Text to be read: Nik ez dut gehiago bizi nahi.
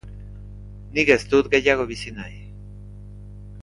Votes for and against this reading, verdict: 3, 0, accepted